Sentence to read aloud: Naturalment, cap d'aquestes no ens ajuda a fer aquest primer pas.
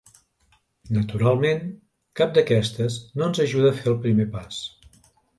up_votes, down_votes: 2, 3